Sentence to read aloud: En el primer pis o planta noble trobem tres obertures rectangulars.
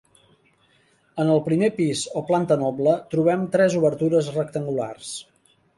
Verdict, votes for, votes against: accepted, 3, 0